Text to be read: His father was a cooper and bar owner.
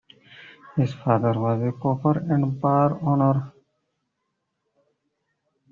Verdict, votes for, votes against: rejected, 1, 2